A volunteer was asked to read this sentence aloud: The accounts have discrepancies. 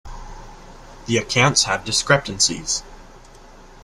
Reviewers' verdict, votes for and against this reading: rejected, 1, 2